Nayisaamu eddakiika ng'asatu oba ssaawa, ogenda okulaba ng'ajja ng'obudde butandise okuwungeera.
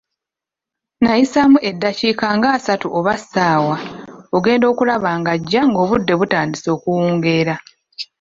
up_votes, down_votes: 1, 2